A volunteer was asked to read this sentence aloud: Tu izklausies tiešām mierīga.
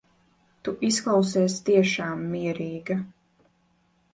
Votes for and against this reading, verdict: 2, 0, accepted